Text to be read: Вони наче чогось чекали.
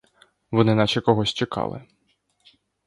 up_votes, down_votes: 1, 2